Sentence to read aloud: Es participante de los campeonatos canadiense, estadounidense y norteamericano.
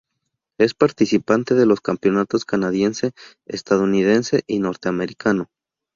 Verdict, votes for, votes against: accepted, 4, 0